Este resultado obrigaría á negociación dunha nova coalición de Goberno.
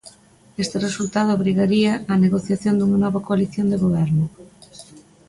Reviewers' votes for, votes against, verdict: 2, 0, accepted